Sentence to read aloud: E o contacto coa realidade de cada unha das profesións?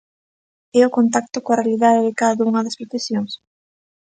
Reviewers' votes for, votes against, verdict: 2, 0, accepted